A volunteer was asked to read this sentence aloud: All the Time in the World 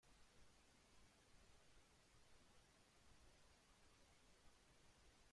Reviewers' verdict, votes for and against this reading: rejected, 0, 2